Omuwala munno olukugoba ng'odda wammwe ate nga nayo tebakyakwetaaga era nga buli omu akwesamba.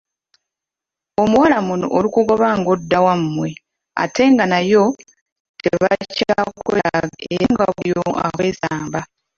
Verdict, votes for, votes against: rejected, 0, 2